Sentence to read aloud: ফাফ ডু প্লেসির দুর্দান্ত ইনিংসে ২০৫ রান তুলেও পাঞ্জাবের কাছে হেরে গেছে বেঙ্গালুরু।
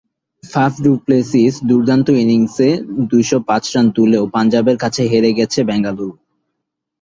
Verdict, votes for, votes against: rejected, 0, 2